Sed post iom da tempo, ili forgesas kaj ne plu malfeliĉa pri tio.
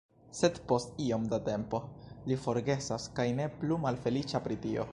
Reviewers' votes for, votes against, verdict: 0, 2, rejected